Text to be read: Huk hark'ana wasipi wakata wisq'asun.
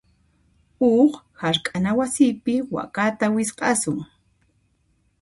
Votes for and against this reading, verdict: 2, 0, accepted